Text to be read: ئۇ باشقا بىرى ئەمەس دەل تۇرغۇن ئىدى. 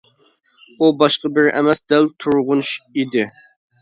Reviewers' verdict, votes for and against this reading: rejected, 0, 2